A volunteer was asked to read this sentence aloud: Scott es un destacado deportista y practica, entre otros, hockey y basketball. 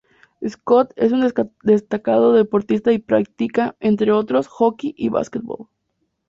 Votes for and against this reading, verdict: 2, 0, accepted